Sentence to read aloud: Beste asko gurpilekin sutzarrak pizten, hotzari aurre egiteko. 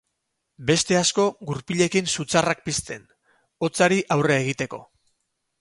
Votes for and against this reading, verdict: 2, 0, accepted